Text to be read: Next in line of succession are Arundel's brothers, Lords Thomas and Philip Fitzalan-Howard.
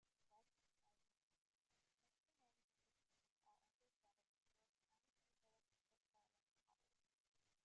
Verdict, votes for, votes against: rejected, 1, 2